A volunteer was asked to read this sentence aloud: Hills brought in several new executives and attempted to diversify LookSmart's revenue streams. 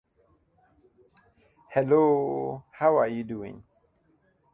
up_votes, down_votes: 0, 2